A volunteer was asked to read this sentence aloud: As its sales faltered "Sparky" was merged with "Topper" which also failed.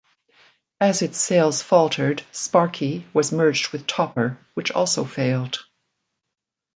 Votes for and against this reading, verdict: 2, 0, accepted